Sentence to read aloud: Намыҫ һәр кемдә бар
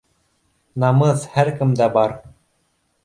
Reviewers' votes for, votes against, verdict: 1, 2, rejected